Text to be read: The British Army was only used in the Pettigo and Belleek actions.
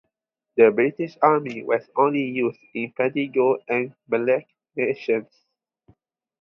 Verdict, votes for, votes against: rejected, 0, 2